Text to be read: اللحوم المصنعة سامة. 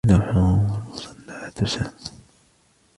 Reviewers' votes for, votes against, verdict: 1, 2, rejected